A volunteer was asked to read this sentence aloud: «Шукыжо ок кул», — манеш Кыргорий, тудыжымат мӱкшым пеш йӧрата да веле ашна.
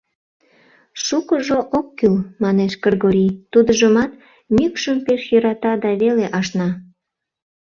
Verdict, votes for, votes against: rejected, 0, 2